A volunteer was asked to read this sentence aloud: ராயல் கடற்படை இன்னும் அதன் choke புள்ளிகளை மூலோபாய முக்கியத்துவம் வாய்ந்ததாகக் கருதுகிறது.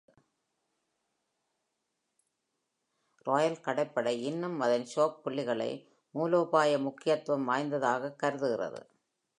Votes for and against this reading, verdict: 1, 2, rejected